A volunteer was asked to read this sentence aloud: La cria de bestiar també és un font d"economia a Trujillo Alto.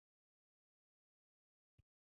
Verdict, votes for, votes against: rejected, 0, 2